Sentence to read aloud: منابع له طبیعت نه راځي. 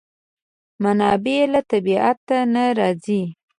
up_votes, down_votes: 2, 0